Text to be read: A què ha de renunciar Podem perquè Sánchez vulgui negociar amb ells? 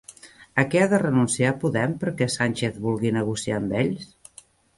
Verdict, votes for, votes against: rejected, 0, 2